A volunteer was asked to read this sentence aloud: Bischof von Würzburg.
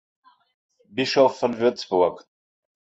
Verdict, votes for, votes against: accepted, 2, 0